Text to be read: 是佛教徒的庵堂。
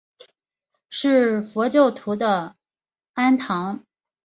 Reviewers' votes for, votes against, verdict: 3, 0, accepted